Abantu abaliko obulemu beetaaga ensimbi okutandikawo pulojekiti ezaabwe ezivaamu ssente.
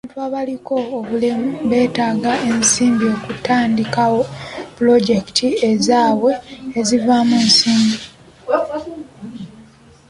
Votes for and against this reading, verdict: 1, 2, rejected